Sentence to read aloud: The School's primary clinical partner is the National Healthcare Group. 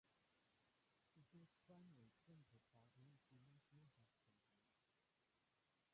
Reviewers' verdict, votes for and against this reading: rejected, 0, 2